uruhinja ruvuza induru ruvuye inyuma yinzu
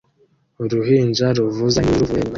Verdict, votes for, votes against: rejected, 0, 2